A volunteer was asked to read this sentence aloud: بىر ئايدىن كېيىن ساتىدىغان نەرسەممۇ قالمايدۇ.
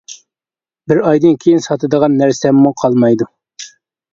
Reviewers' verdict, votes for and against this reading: accepted, 2, 0